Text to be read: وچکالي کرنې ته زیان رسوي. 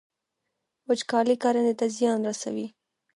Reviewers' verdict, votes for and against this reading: rejected, 0, 2